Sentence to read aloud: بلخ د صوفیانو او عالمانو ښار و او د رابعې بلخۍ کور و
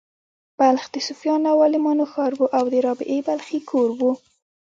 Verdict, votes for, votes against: rejected, 1, 2